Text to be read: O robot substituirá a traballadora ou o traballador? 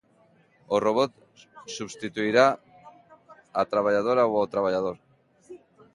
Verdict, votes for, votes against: rejected, 1, 2